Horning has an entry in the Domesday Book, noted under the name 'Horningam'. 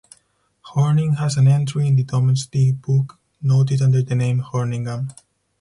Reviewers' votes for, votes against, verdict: 2, 2, rejected